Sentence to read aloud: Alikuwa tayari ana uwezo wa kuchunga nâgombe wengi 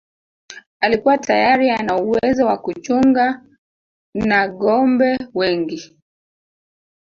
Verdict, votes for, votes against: rejected, 1, 2